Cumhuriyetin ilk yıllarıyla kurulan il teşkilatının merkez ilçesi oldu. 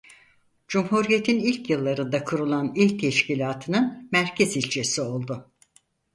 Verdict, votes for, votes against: rejected, 2, 4